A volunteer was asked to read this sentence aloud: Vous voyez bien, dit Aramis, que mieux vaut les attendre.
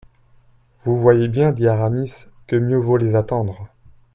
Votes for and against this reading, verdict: 2, 0, accepted